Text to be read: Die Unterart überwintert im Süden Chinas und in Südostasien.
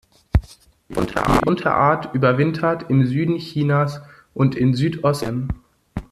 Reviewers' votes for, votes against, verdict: 0, 2, rejected